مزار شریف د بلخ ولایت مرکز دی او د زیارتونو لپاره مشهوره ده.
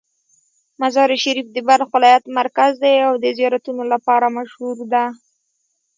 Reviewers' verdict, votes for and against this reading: accepted, 3, 1